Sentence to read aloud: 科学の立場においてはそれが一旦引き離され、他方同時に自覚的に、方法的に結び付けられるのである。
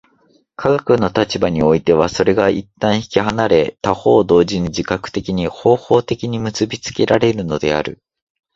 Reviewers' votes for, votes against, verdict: 0, 2, rejected